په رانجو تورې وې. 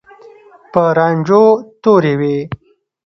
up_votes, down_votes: 1, 2